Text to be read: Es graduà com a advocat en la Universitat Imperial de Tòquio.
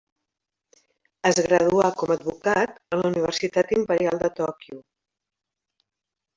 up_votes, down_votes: 0, 2